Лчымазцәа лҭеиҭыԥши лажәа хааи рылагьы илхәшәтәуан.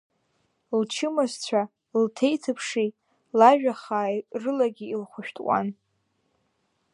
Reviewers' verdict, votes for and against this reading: accepted, 2, 1